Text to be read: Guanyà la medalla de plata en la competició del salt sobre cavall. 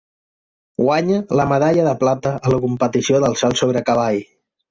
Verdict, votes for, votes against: rejected, 0, 2